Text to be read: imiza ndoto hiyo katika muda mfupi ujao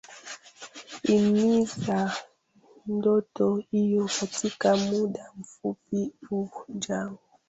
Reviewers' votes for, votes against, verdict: 0, 2, rejected